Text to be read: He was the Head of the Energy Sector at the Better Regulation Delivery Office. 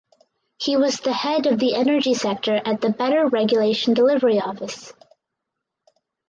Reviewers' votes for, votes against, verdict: 4, 0, accepted